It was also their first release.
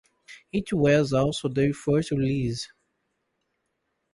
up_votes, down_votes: 0, 2